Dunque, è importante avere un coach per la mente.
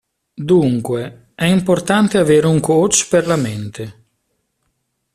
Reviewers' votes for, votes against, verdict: 2, 0, accepted